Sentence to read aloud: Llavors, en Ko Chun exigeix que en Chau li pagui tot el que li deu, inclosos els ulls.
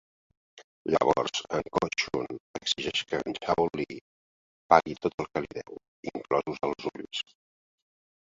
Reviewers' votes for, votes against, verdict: 0, 2, rejected